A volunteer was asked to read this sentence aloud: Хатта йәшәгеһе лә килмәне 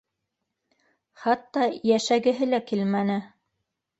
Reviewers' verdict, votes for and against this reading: rejected, 1, 2